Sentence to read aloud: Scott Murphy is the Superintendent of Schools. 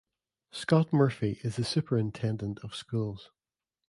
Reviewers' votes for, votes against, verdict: 2, 0, accepted